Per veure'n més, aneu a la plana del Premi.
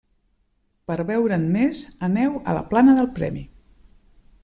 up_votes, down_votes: 3, 0